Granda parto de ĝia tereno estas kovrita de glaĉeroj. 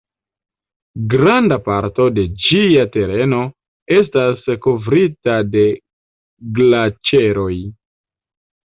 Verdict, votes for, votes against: accepted, 2, 1